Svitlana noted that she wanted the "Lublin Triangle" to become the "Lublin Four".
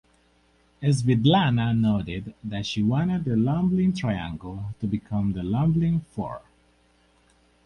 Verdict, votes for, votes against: accepted, 4, 0